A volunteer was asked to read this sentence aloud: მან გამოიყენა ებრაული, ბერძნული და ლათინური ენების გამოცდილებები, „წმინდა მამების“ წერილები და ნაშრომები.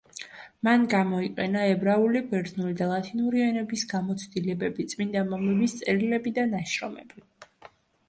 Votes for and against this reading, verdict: 2, 1, accepted